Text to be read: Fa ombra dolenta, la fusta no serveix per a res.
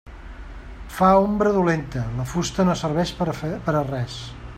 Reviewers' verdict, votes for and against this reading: rejected, 1, 2